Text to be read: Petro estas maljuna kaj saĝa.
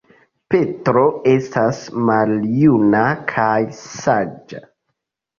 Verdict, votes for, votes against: accepted, 3, 0